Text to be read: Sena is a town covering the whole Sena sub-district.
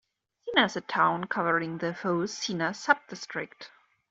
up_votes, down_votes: 2, 0